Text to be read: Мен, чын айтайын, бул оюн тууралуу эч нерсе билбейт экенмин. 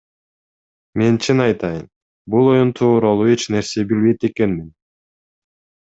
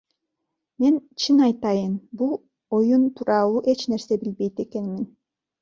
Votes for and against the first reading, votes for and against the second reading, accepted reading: 2, 1, 1, 2, first